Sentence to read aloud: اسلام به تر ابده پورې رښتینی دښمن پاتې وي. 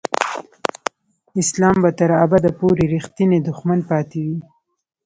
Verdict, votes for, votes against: accepted, 2, 0